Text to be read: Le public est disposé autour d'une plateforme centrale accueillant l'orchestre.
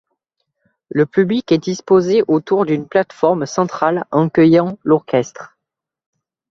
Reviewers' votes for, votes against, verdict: 0, 3, rejected